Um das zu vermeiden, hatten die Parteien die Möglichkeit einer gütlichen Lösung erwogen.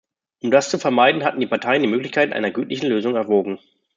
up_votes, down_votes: 2, 0